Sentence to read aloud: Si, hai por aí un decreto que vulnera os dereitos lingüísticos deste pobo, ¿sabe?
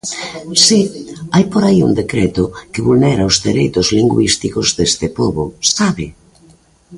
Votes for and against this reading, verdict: 1, 2, rejected